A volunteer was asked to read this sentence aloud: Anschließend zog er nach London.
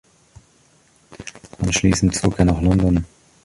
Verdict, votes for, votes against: rejected, 1, 2